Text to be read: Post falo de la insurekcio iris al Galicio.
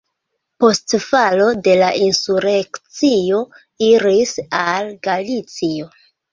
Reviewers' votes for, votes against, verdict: 2, 1, accepted